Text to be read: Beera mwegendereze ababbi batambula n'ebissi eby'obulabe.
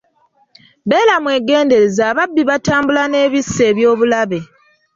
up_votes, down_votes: 2, 0